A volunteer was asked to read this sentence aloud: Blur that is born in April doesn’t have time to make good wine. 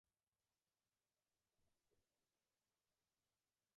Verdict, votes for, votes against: rejected, 0, 2